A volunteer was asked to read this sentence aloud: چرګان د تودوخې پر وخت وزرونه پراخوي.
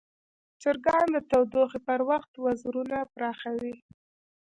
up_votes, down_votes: 1, 2